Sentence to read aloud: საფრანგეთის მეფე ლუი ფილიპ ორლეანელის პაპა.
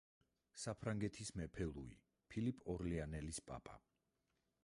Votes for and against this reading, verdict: 2, 4, rejected